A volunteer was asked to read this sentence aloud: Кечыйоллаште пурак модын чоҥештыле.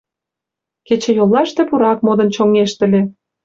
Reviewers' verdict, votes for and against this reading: accepted, 4, 1